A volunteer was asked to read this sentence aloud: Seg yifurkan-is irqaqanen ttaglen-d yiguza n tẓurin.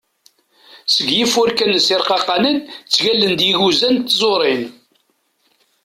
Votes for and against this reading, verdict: 2, 0, accepted